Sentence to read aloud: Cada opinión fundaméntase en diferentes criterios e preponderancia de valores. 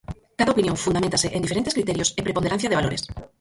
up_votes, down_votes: 2, 4